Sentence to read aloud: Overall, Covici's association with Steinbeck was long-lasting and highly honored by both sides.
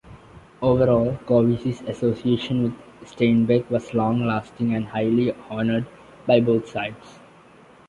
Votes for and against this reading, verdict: 2, 0, accepted